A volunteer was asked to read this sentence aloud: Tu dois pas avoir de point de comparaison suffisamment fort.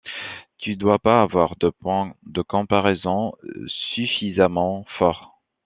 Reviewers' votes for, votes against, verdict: 2, 0, accepted